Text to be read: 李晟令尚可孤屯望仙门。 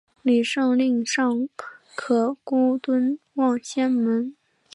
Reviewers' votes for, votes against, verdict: 1, 2, rejected